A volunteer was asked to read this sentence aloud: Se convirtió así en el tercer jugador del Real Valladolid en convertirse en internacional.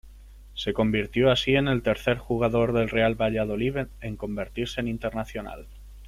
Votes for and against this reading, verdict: 1, 2, rejected